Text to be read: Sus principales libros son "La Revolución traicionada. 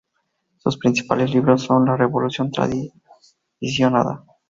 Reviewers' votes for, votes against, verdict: 2, 2, rejected